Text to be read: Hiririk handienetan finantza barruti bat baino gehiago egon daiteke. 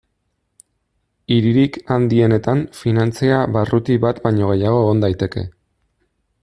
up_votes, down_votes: 0, 2